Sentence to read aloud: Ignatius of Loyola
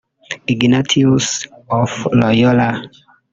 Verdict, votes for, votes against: rejected, 0, 2